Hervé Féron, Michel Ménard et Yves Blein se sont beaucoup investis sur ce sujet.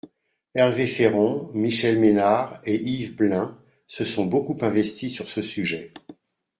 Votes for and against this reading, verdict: 2, 0, accepted